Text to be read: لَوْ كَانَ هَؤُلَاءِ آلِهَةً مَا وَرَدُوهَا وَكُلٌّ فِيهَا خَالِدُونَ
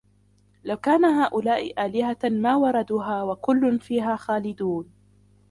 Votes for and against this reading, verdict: 2, 1, accepted